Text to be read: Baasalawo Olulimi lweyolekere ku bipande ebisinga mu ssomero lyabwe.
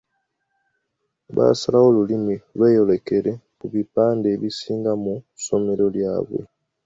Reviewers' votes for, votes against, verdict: 2, 0, accepted